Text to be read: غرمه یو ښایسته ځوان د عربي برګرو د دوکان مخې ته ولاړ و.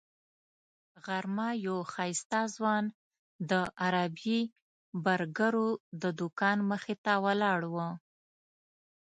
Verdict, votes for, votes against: accepted, 2, 0